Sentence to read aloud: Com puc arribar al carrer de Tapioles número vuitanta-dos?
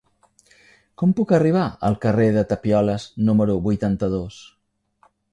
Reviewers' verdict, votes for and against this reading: accepted, 3, 0